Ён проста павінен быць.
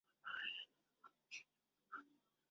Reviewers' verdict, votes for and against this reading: rejected, 0, 2